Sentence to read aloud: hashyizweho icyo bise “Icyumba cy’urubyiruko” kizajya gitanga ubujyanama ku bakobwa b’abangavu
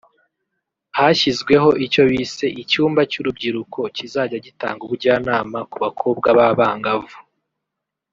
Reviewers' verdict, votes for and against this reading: rejected, 1, 2